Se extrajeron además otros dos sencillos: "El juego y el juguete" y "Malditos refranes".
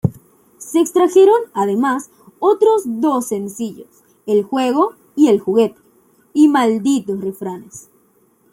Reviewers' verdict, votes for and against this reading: accepted, 2, 0